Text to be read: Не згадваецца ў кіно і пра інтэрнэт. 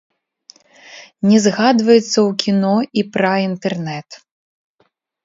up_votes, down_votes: 1, 2